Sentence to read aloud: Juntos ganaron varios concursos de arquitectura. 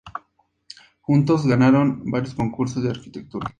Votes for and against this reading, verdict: 6, 0, accepted